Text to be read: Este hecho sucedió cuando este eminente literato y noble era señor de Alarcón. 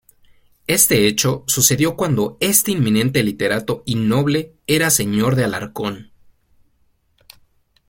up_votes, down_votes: 2, 0